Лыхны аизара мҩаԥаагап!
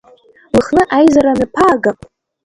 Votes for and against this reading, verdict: 0, 2, rejected